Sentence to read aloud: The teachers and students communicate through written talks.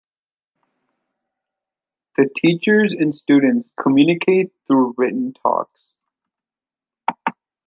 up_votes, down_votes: 0, 2